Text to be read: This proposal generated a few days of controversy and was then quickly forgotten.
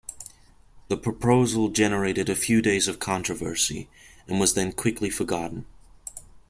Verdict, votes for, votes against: rejected, 0, 2